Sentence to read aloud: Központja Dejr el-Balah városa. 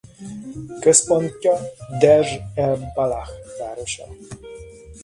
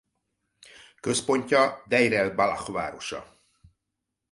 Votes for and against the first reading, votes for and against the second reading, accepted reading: 1, 2, 2, 1, second